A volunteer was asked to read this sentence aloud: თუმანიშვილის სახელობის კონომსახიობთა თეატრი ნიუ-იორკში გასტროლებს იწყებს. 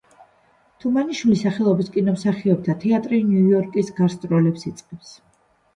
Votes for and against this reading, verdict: 2, 0, accepted